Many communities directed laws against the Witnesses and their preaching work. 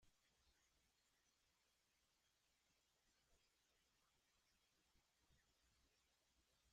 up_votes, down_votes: 0, 2